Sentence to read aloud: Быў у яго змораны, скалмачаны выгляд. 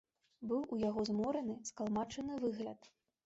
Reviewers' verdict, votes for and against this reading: accepted, 2, 0